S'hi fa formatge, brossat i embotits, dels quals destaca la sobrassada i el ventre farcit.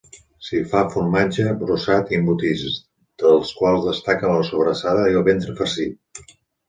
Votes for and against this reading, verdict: 3, 0, accepted